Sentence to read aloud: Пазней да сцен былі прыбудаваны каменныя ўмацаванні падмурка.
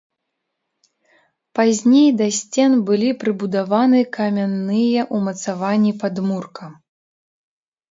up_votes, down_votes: 0, 2